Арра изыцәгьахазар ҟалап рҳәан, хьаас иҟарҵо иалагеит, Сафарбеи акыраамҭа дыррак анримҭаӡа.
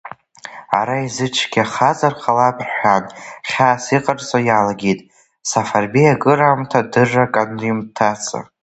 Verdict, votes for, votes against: rejected, 1, 2